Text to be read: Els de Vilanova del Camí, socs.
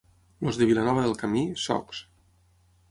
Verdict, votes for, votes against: rejected, 0, 6